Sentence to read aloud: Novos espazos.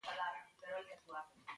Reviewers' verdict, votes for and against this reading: rejected, 0, 2